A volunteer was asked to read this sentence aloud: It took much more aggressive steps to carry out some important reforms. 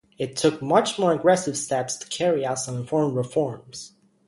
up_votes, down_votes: 0, 2